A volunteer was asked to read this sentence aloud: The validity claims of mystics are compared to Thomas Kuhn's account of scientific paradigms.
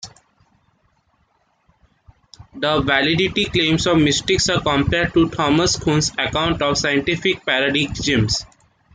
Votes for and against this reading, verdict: 1, 2, rejected